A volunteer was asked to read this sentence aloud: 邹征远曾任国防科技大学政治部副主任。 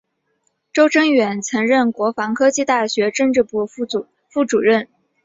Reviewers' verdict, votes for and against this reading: accepted, 3, 2